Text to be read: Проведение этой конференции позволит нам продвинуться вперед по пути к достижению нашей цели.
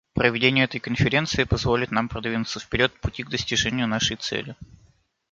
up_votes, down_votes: 0, 2